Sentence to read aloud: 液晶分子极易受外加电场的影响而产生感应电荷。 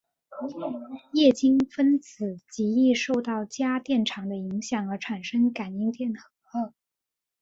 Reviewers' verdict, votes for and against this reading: accepted, 2, 0